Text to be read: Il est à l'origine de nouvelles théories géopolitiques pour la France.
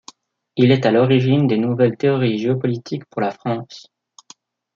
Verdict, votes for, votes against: rejected, 1, 2